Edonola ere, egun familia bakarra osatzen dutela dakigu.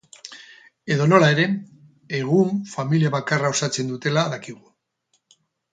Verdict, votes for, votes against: rejected, 0, 2